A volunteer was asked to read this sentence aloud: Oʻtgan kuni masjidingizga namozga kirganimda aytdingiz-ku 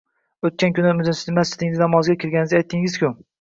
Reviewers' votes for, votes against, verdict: 0, 2, rejected